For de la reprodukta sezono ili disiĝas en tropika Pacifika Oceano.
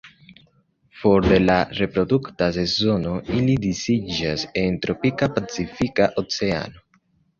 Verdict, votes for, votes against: accepted, 2, 0